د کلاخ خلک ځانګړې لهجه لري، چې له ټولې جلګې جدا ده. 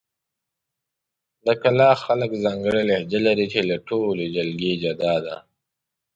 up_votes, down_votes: 2, 0